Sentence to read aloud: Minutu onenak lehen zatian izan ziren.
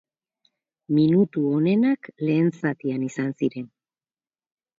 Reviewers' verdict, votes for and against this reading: rejected, 2, 2